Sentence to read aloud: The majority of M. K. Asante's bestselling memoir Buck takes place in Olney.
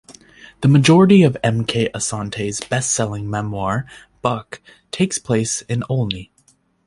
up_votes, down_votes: 2, 0